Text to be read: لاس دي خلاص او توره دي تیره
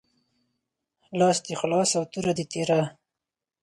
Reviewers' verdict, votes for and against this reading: accepted, 4, 0